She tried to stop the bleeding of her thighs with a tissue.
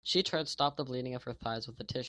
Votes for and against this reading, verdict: 2, 0, accepted